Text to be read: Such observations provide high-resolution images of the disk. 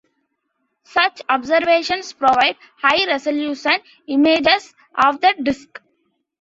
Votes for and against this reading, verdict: 1, 2, rejected